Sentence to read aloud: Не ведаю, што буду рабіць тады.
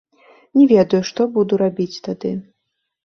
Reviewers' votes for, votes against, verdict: 0, 2, rejected